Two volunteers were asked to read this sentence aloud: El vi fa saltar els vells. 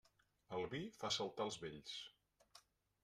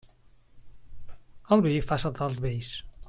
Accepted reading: second